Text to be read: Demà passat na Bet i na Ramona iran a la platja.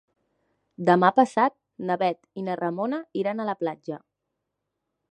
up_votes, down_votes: 3, 0